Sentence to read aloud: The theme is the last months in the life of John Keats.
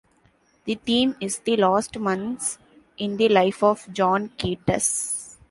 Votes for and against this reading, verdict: 1, 2, rejected